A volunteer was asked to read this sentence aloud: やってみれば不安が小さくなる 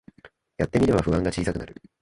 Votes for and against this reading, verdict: 0, 2, rejected